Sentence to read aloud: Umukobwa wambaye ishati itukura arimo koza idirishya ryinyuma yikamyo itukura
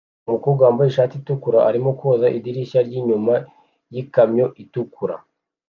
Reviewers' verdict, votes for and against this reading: accepted, 2, 0